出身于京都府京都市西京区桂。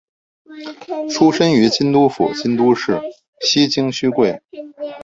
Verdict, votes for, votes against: rejected, 0, 3